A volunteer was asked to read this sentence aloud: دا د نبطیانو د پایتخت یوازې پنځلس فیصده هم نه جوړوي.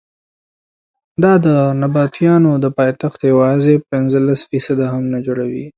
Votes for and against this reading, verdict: 2, 0, accepted